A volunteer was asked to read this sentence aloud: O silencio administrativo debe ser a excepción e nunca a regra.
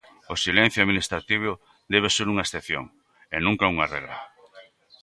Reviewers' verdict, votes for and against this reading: rejected, 1, 2